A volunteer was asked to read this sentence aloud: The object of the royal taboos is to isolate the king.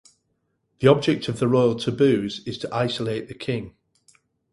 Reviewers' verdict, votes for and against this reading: rejected, 2, 2